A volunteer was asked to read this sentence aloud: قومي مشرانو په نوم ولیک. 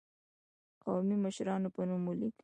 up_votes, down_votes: 1, 2